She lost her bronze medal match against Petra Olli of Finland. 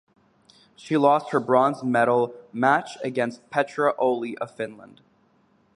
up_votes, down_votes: 2, 2